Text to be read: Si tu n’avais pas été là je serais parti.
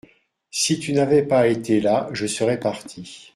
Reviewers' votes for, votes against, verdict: 2, 0, accepted